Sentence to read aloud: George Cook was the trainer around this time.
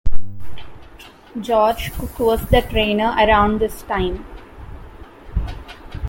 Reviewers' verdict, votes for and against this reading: accepted, 2, 1